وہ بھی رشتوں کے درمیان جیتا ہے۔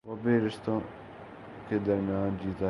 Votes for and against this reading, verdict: 10, 2, accepted